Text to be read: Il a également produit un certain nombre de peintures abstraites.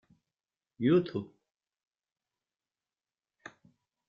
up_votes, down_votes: 1, 2